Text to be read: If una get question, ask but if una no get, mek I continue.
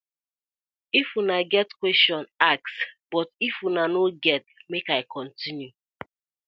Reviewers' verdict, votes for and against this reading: accepted, 2, 0